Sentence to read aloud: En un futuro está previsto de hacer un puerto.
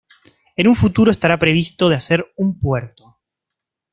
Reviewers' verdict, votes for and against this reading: rejected, 0, 2